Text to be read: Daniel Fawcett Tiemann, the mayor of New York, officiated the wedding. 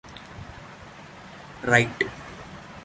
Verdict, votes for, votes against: rejected, 0, 2